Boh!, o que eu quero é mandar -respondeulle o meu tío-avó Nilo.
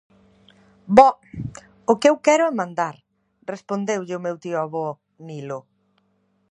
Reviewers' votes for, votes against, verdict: 2, 0, accepted